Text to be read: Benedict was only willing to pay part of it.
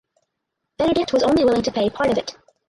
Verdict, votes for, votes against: rejected, 2, 4